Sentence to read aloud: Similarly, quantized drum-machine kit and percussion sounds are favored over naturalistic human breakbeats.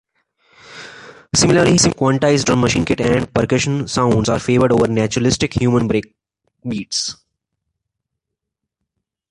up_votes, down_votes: 0, 2